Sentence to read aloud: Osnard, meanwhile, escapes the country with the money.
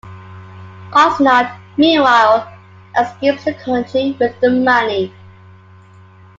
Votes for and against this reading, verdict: 2, 0, accepted